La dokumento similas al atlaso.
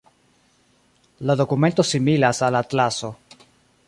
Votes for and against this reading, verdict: 2, 0, accepted